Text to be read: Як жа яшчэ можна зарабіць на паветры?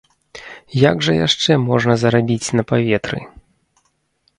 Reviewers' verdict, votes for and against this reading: rejected, 0, 2